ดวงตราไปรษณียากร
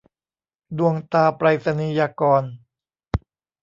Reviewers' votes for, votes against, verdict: 2, 0, accepted